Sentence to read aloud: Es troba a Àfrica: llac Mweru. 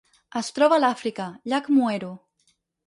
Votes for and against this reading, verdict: 2, 4, rejected